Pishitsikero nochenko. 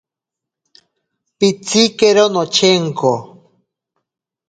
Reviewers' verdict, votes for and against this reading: rejected, 0, 2